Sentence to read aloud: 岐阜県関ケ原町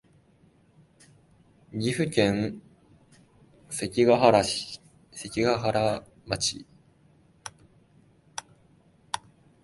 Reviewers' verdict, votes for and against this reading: rejected, 1, 2